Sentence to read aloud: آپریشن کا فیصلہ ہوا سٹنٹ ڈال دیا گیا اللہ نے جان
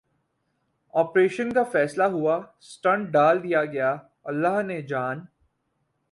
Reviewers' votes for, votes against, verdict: 4, 0, accepted